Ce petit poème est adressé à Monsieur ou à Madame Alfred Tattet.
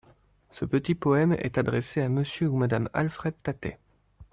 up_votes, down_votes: 2, 1